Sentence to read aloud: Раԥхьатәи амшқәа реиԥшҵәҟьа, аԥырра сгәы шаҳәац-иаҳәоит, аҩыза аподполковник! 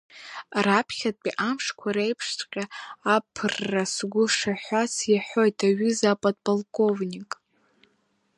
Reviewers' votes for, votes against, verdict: 3, 0, accepted